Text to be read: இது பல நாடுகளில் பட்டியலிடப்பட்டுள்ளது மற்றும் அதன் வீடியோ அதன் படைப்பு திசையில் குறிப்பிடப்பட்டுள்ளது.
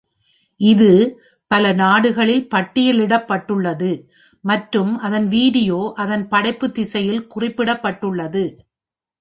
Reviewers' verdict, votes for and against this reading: rejected, 0, 2